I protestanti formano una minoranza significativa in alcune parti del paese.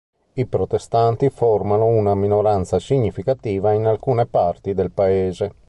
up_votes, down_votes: 2, 0